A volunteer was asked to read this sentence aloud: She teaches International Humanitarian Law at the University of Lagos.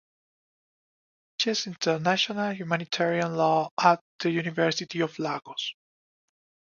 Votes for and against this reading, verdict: 0, 2, rejected